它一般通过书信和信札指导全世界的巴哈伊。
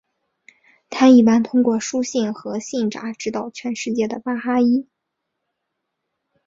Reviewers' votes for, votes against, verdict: 2, 0, accepted